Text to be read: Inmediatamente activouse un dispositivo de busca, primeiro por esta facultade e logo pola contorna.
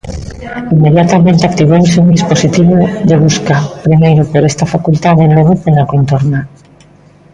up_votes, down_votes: 1, 2